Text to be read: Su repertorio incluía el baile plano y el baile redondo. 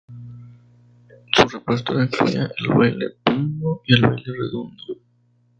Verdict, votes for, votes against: rejected, 0, 2